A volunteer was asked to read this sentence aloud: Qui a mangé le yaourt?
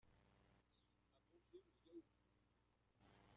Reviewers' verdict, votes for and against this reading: rejected, 0, 2